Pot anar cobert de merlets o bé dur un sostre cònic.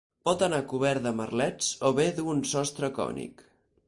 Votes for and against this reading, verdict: 4, 0, accepted